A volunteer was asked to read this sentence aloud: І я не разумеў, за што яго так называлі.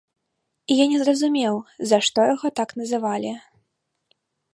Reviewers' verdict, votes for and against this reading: rejected, 1, 2